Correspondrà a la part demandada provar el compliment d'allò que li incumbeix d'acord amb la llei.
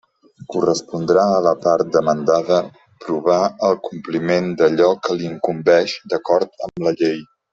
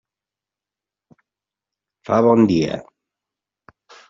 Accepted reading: first